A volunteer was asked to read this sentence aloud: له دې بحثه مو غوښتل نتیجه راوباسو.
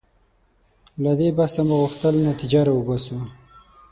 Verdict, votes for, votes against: accepted, 6, 3